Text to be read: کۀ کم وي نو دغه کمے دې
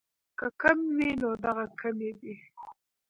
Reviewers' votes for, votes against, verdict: 1, 2, rejected